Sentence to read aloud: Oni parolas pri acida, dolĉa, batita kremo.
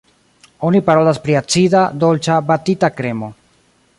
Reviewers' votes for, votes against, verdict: 1, 2, rejected